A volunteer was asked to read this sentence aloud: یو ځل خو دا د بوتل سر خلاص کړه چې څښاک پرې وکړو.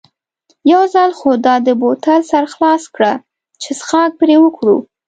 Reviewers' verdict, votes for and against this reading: accepted, 2, 0